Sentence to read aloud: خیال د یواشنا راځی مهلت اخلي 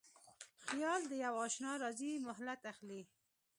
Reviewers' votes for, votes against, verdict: 2, 0, accepted